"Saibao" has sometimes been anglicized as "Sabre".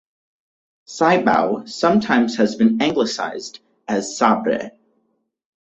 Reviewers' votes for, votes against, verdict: 4, 2, accepted